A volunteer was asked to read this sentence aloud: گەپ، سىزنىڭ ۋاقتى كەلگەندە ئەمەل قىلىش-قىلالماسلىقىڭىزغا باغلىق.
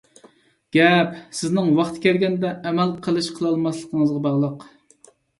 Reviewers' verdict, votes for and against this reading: accepted, 2, 0